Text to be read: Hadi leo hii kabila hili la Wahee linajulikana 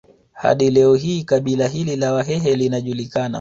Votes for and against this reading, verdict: 2, 1, accepted